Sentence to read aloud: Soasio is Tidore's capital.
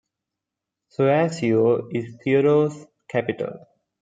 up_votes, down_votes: 1, 2